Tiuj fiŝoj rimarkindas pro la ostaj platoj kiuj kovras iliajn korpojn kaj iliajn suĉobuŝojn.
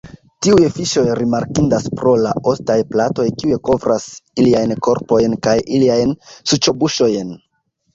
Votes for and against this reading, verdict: 0, 2, rejected